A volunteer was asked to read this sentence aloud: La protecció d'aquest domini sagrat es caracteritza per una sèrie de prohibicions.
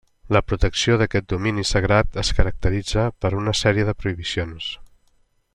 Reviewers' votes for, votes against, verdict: 3, 0, accepted